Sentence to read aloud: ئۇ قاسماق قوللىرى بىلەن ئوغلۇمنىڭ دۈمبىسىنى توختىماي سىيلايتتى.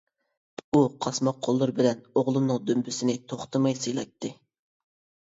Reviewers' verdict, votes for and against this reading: accepted, 2, 0